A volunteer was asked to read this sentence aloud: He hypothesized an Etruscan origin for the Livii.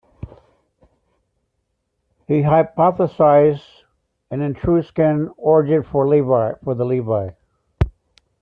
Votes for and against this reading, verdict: 2, 0, accepted